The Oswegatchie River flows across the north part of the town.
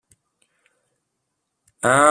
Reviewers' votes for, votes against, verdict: 0, 2, rejected